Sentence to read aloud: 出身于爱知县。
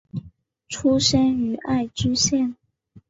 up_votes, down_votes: 4, 1